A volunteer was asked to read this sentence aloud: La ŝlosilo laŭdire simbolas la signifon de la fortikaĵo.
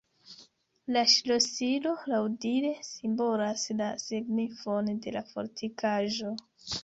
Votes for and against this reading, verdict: 2, 0, accepted